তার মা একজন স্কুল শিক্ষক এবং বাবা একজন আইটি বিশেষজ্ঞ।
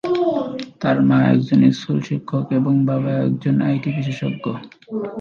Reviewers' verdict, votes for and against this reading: rejected, 0, 2